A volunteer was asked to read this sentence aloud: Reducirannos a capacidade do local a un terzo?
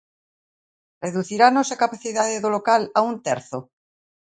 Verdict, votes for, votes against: accepted, 2, 0